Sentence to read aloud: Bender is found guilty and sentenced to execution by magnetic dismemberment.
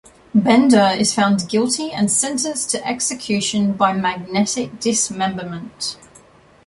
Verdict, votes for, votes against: rejected, 1, 2